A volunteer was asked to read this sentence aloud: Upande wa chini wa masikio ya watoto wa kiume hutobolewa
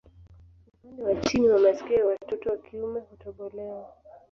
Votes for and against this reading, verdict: 1, 2, rejected